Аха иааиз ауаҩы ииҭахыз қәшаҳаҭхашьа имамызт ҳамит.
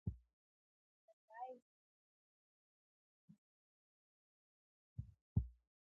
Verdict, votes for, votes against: rejected, 1, 2